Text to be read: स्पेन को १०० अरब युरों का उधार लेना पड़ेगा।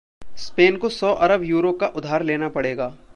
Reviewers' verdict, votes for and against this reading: rejected, 0, 2